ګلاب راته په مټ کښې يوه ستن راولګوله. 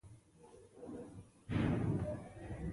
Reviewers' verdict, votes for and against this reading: rejected, 1, 2